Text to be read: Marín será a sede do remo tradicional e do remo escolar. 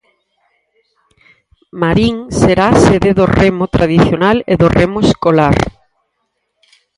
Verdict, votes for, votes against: accepted, 4, 0